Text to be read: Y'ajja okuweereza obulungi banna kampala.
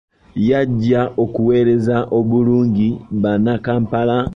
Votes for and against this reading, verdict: 0, 2, rejected